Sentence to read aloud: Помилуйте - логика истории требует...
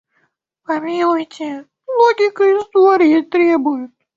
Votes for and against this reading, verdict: 0, 2, rejected